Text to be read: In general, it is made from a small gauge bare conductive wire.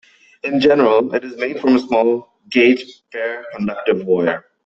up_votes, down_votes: 2, 1